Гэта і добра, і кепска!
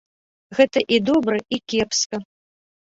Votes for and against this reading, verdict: 2, 0, accepted